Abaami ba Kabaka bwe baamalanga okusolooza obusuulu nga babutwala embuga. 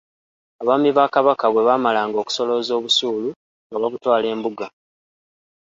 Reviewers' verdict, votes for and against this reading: accepted, 2, 1